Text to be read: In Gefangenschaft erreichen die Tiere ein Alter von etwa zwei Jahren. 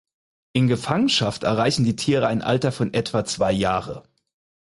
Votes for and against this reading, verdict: 0, 4, rejected